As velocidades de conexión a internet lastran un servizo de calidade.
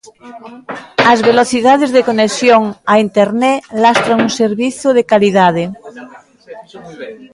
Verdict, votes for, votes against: rejected, 0, 2